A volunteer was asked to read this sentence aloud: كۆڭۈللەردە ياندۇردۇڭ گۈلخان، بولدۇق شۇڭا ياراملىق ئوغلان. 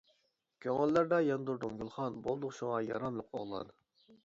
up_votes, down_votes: 2, 0